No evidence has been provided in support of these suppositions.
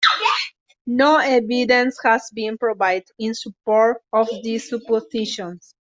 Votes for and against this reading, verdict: 0, 2, rejected